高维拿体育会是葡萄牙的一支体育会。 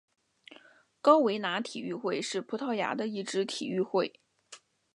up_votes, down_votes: 2, 0